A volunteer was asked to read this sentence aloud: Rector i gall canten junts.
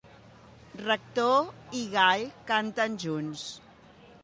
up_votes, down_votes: 2, 0